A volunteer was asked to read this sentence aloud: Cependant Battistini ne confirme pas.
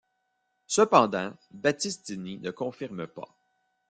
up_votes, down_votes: 2, 0